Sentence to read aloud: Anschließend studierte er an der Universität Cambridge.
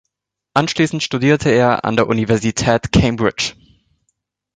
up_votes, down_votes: 2, 0